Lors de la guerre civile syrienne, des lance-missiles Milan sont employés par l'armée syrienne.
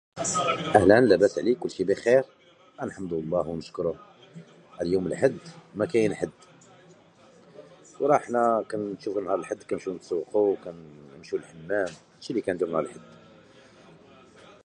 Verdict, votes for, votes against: rejected, 0, 2